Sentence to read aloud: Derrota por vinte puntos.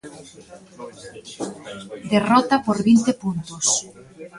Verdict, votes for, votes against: accepted, 2, 1